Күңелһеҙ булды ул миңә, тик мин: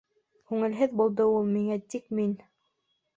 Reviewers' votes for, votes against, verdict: 2, 0, accepted